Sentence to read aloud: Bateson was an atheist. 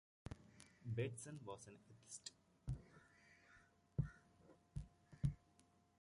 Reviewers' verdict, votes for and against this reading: rejected, 0, 2